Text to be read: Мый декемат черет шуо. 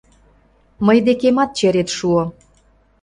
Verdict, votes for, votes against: accepted, 2, 0